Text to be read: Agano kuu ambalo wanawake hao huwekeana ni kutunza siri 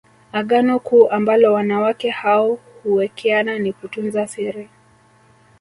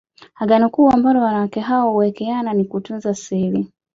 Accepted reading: second